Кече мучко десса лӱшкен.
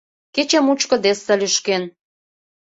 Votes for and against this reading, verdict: 2, 0, accepted